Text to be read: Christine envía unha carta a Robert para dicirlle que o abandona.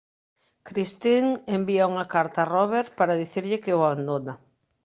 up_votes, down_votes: 2, 0